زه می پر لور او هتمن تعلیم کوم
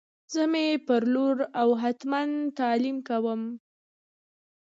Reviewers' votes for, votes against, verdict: 2, 1, accepted